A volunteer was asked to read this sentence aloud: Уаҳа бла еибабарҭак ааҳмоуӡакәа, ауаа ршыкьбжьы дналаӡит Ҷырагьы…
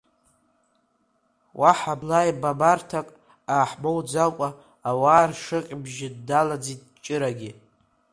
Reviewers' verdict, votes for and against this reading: accepted, 2, 0